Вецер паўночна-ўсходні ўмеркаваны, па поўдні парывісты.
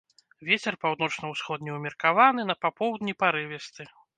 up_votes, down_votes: 0, 2